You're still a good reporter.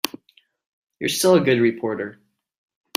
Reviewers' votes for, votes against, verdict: 3, 0, accepted